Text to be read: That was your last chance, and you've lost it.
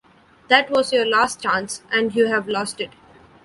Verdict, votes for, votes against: rejected, 1, 2